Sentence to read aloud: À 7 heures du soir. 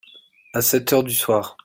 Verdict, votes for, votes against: rejected, 0, 2